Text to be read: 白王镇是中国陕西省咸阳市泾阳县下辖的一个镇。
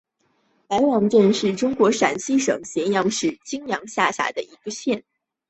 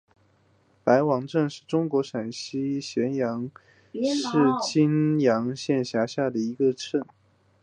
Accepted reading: second